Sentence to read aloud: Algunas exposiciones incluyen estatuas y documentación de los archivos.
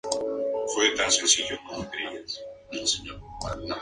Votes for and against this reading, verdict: 0, 2, rejected